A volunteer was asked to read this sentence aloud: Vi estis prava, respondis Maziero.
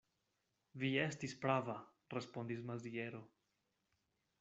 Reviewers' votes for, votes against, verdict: 2, 0, accepted